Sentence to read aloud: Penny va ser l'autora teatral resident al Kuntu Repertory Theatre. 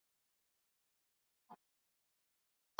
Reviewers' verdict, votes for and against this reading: rejected, 1, 2